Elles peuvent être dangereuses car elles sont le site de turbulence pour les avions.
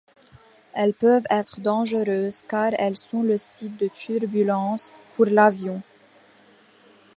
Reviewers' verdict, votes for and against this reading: rejected, 0, 2